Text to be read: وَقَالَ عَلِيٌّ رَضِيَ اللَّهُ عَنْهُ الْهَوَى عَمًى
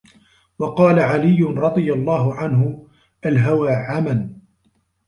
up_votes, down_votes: 1, 2